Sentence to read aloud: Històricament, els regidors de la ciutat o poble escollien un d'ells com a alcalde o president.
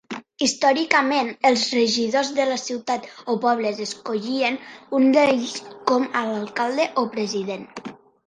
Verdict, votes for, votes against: rejected, 1, 2